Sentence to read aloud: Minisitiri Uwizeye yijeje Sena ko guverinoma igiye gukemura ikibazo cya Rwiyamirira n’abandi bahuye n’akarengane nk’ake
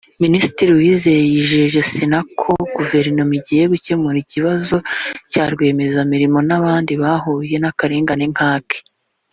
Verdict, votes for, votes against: rejected, 0, 2